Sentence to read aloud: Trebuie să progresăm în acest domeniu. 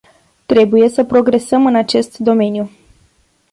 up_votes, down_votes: 2, 0